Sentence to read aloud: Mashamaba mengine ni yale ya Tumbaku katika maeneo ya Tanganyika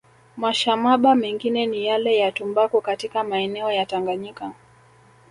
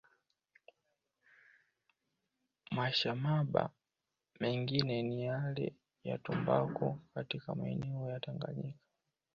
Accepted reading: first